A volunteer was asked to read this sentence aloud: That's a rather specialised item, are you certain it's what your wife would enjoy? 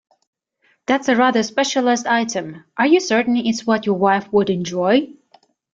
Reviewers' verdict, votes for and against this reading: accepted, 2, 0